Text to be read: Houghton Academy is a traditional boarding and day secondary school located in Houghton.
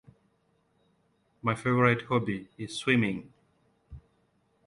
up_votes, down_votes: 0, 2